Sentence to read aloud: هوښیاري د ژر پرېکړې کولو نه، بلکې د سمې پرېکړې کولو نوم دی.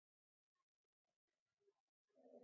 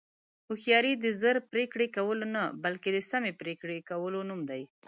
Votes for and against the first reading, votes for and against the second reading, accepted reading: 0, 2, 2, 0, second